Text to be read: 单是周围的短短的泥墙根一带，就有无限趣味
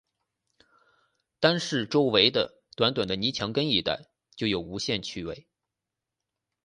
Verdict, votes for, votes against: accepted, 6, 0